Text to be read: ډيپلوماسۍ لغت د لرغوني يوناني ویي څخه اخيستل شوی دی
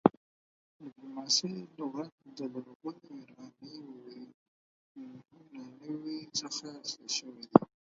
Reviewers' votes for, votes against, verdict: 2, 4, rejected